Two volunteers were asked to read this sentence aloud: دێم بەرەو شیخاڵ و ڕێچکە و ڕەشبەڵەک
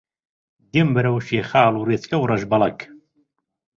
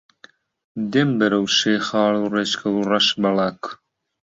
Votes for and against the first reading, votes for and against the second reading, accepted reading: 2, 0, 1, 2, first